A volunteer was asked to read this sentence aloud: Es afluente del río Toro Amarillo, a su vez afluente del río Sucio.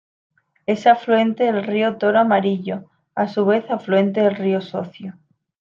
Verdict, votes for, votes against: rejected, 1, 2